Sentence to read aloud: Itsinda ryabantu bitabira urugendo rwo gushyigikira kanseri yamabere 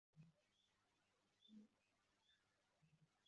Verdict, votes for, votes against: rejected, 0, 2